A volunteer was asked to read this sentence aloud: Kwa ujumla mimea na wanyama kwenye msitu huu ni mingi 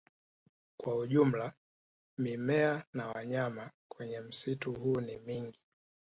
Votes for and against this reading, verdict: 1, 2, rejected